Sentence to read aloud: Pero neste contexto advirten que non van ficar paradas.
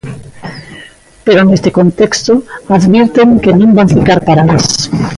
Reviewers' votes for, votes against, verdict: 2, 0, accepted